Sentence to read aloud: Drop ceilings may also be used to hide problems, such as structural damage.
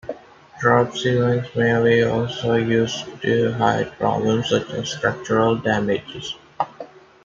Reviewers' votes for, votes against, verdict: 0, 2, rejected